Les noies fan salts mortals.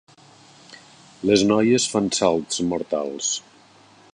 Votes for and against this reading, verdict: 3, 0, accepted